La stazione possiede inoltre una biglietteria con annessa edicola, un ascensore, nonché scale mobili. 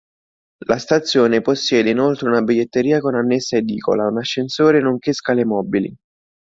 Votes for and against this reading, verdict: 2, 0, accepted